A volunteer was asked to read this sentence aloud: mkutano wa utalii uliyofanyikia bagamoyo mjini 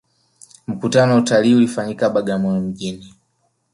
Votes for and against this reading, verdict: 2, 1, accepted